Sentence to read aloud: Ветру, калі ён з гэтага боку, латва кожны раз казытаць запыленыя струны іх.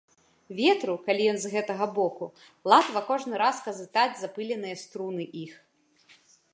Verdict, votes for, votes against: accepted, 2, 0